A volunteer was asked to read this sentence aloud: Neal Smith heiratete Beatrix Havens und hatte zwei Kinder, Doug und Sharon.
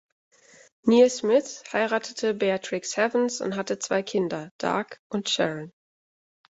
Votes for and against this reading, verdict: 1, 2, rejected